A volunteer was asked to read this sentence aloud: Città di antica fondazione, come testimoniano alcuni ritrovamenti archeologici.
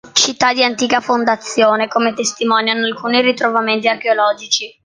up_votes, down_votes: 3, 0